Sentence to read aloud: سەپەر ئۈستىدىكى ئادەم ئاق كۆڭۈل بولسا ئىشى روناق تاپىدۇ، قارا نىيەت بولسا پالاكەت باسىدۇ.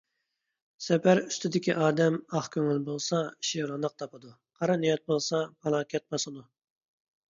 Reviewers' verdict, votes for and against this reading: accepted, 2, 0